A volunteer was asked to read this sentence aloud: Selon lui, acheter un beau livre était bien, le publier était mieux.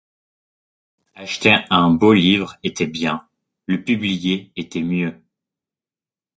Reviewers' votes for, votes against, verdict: 1, 2, rejected